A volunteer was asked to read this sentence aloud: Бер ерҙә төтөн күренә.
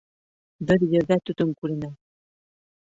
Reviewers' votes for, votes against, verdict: 2, 0, accepted